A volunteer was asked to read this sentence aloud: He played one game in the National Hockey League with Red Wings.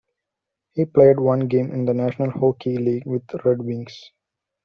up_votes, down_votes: 1, 2